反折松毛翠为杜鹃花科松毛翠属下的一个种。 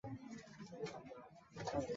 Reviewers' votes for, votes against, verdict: 0, 2, rejected